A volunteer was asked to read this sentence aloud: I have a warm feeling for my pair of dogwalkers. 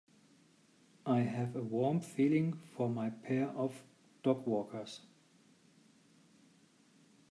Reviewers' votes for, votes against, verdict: 2, 0, accepted